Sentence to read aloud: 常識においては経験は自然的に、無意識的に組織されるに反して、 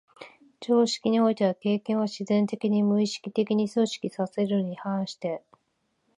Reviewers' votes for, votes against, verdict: 1, 2, rejected